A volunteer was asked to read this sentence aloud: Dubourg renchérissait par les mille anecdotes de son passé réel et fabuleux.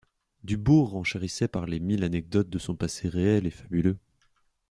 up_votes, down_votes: 2, 0